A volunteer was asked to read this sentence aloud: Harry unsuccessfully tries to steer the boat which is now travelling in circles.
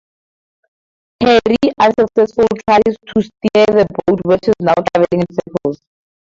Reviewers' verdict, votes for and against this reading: rejected, 2, 2